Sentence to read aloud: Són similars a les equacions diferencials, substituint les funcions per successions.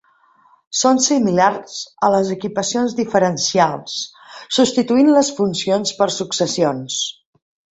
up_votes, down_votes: 0, 2